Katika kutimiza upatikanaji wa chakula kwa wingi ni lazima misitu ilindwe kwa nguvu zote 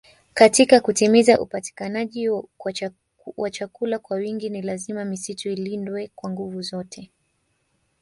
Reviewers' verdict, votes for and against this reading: accepted, 2, 1